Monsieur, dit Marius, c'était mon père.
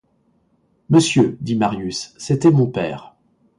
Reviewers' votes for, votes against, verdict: 2, 0, accepted